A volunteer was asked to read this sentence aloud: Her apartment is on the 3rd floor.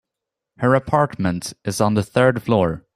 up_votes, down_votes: 0, 2